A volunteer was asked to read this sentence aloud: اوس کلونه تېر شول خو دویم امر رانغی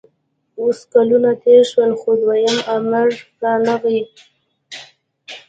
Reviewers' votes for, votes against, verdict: 0, 2, rejected